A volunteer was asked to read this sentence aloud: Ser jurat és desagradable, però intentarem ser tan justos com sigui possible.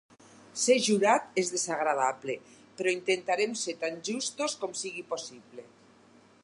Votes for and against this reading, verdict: 4, 2, accepted